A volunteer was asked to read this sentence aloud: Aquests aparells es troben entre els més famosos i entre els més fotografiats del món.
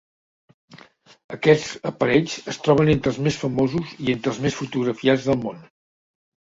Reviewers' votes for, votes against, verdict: 2, 0, accepted